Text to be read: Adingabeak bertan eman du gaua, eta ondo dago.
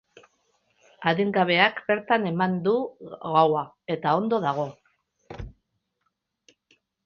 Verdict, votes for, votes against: rejected, 0, 2